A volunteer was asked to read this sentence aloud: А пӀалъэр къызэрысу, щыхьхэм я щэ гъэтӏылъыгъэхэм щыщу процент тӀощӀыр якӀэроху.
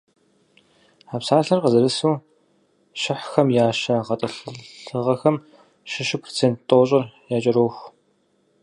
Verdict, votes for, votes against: rejected, 0, 4